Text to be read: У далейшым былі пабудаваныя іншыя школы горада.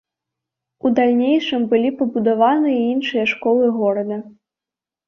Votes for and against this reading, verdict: 1, 2, rejected